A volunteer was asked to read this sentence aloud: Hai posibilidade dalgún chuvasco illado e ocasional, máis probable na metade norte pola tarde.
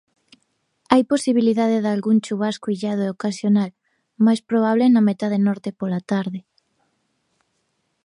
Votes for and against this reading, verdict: 2, 0, accepted